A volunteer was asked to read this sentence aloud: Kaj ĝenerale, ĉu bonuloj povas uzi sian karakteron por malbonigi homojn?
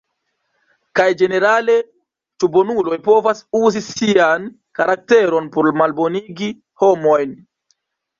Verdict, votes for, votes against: rejected, 1, 2